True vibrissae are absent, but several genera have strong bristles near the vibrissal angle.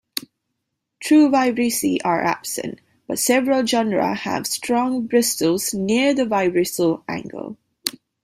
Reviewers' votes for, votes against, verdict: 2, 0, accepted